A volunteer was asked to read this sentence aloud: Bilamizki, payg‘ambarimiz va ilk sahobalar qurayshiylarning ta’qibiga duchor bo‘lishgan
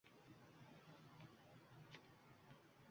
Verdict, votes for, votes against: rejected, 1, 2